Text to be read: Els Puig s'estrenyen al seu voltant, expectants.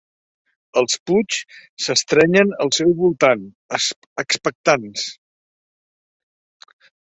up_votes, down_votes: 0, 2